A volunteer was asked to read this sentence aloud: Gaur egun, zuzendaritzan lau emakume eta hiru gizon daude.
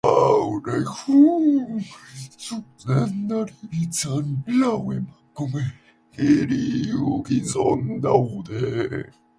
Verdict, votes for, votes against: rejected, 0, 2